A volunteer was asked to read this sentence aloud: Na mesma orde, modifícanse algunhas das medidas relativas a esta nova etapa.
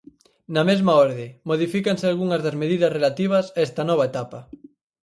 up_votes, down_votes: 4, 0